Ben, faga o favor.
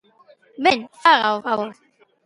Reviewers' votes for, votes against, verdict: 2, 1, accepted